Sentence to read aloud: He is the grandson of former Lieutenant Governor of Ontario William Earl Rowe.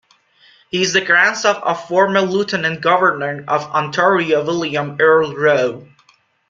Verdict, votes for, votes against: rejected, 1, 2